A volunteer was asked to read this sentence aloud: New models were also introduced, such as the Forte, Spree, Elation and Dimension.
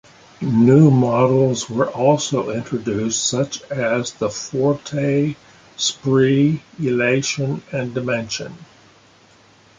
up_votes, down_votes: 2, 0